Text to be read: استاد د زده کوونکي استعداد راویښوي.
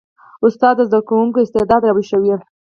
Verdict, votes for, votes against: rejected, 2, 4